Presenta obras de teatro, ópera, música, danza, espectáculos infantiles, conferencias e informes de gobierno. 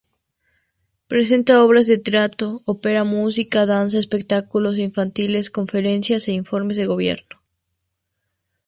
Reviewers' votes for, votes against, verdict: 0, 2, rejected